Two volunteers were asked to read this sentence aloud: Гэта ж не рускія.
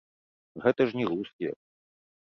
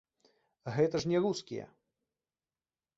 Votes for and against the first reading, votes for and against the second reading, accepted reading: 1, 2, 2, 0, second